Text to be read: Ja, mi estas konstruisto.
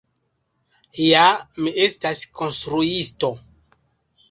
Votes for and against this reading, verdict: 2, 1, accepted